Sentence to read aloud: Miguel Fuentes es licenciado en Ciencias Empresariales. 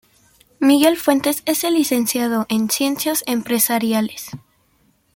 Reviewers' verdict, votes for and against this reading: rejected, 0, 2